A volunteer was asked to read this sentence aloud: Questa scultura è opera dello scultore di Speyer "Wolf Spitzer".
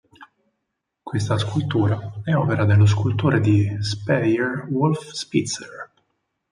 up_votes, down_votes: 4, 0